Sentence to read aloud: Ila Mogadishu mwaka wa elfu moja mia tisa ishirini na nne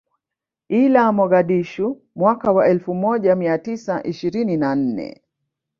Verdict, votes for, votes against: rejected, 1, 2